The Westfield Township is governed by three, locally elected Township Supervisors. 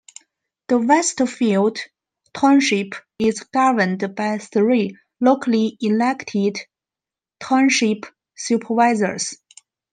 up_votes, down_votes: 2, 0